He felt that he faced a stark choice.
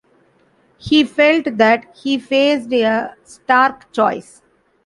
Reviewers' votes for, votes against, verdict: 1, 2, rejected